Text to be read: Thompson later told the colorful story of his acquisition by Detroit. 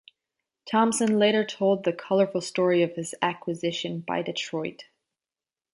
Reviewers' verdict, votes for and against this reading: accepted, 2, 0